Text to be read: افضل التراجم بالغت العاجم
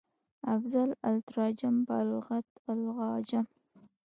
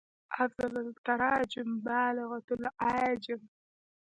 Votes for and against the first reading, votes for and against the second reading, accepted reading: 2, 0, 1, 2, first